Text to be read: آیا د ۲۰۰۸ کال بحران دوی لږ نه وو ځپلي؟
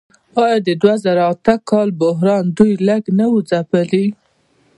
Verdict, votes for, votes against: rejected, 0, 2